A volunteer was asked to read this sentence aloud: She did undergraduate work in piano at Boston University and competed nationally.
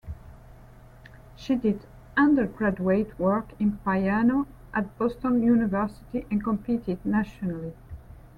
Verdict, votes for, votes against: rejected, 1, 2